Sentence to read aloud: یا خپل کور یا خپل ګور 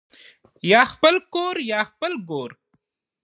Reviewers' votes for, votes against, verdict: 4, 2, accepted